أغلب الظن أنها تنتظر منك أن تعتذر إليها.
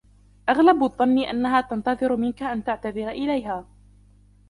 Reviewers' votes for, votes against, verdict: 0, 2, rejected